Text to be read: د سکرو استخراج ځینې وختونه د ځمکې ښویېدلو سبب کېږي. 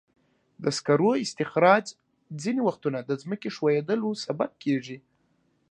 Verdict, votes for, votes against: accepted, 3, 0